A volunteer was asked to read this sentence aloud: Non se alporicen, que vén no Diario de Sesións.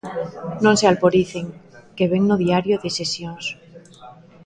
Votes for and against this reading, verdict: 2, 0, accepted